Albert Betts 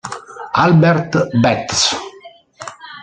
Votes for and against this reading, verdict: 0, 2, rejected